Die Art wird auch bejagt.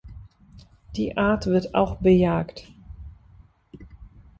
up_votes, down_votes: 2, 0